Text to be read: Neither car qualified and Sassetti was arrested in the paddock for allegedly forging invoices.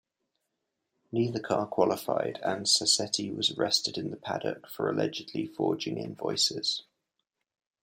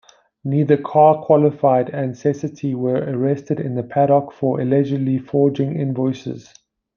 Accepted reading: first